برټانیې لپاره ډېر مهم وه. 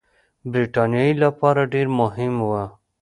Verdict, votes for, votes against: accepted, 2, 0